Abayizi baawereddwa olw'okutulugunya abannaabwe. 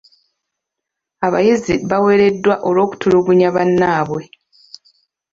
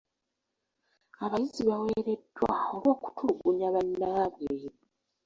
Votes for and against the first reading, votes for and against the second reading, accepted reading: 1, 2, 2, 1, second